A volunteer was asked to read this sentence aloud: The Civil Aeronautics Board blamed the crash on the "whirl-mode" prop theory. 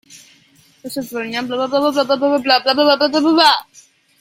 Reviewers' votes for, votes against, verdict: 0, 2, rejected